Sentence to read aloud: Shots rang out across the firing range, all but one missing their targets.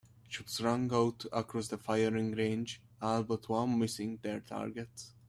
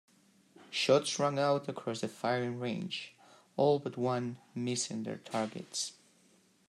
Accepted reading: first